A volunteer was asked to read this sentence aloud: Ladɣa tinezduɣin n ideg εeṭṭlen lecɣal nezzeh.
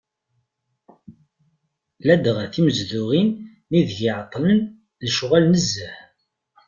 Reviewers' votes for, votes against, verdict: 1, 2, rejected